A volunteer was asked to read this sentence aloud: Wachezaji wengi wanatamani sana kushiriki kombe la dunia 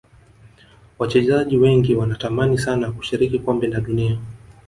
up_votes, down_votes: 2, 0